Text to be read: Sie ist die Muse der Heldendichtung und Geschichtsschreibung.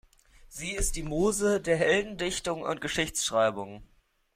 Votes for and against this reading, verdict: 2, 0, accepted